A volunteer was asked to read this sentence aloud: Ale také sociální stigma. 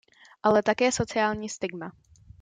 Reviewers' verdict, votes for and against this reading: accepted, 2, 0